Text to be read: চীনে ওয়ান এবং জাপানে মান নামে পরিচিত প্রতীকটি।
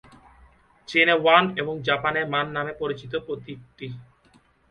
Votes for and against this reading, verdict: 1, 2, rejected